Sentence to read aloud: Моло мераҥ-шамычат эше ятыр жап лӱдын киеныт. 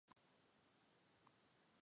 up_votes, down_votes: 0, 2